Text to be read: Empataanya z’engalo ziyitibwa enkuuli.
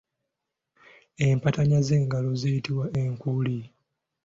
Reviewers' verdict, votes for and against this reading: accepted, 2, 0